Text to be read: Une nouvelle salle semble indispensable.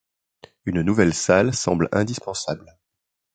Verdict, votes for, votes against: accepted, 2, 0